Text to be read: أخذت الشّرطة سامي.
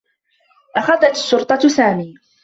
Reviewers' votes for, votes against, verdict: 3, 1, accepted